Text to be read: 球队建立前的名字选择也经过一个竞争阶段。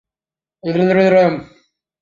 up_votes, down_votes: 0, 2